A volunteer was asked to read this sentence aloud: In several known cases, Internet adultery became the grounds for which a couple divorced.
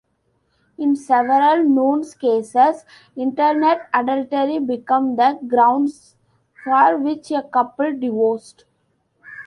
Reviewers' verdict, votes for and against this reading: accepted, 2, 1